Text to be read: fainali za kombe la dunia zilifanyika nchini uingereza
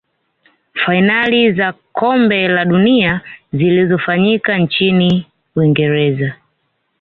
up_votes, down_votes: 2, 0